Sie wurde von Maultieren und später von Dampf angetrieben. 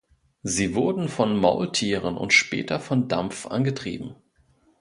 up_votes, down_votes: 1, 2